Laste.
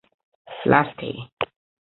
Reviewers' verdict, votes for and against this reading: accepted, 2, 0